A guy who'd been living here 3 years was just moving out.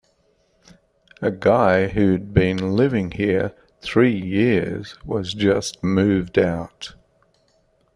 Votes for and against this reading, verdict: 0, 2, rejected